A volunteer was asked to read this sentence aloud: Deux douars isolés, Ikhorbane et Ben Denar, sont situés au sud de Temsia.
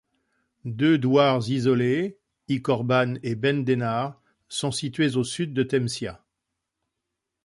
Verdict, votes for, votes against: accepted, 2, 1